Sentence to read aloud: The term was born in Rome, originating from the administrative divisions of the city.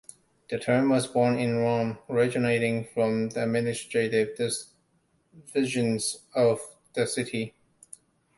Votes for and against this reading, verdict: 0, 2, rejected